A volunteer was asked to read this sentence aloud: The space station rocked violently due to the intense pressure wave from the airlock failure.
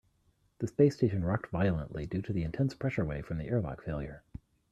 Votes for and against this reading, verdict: 2, 0, accepted